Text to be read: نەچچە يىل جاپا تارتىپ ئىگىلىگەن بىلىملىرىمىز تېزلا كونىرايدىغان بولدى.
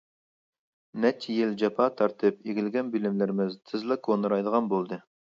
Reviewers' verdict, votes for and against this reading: accepted, 2, 0